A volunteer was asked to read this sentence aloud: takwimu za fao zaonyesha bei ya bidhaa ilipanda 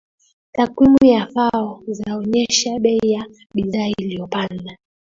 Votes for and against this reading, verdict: 2, 1, accepted